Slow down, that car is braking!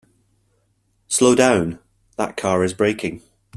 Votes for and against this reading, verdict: 2, 0, accepted